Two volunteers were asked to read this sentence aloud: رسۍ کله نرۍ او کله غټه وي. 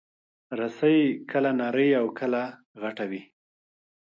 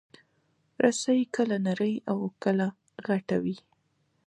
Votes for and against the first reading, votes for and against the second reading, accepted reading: 2, 1, 1, 2, first